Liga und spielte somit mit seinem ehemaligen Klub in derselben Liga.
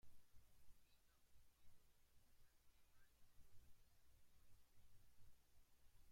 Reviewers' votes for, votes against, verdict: 0, 2, rejected